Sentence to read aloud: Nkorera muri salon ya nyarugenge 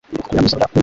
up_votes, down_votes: 1, 2